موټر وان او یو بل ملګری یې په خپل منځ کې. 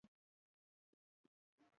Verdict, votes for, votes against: rejected, 1, 2